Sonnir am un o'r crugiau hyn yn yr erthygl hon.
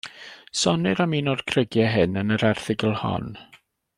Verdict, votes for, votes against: accepted, 2, 0